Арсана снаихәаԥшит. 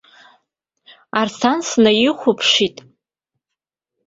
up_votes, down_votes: 0, 2